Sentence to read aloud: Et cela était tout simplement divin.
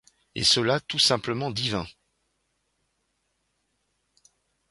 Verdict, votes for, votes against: rejected, 0, 2